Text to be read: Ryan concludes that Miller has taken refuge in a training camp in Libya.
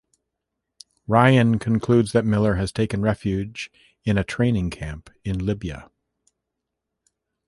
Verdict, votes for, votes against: accepted, 2, 0